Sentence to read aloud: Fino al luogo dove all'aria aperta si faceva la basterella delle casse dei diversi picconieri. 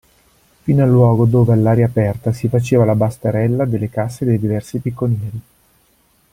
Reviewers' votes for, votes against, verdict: 2, 1, accepted